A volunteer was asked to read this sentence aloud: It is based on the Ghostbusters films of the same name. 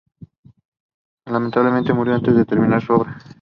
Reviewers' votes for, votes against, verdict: 0, 2, rejected